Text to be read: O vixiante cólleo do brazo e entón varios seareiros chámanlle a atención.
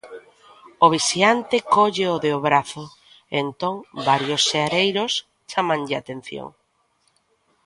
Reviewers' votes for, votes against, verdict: 1, 2, rejected